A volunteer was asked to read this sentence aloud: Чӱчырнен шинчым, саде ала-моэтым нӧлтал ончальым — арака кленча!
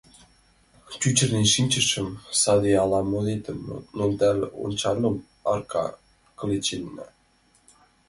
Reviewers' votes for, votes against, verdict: 1, 2, rejected